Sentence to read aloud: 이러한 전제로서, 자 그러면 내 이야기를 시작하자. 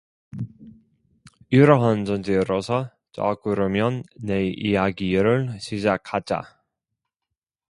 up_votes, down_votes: 2, 0